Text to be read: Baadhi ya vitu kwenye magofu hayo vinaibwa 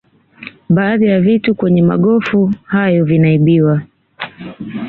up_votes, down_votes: 0, 2